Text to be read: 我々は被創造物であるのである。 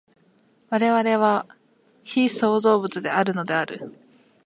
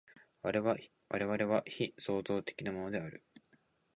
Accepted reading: first